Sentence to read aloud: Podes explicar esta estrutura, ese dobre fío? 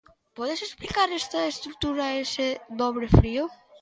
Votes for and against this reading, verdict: 1, 2, rejected